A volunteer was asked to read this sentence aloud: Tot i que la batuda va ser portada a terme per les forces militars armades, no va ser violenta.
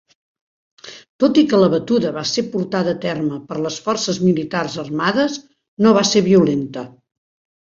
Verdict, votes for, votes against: accepted, 3, 0